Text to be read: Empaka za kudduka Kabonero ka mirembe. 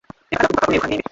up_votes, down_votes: 0, 2